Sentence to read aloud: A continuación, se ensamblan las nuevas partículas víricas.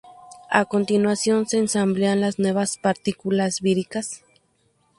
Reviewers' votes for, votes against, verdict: 0, 2, rejected